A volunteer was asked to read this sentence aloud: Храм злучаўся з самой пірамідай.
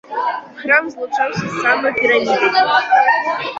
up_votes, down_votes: 1, 2